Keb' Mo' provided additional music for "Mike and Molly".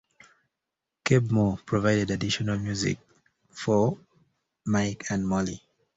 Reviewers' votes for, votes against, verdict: 2, 0, accepted